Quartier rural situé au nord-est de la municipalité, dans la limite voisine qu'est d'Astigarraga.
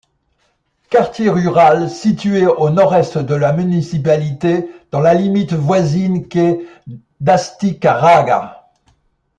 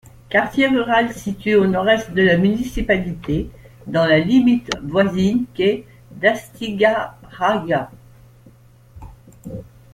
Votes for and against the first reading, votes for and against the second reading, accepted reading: 2, 0, 1, 2, first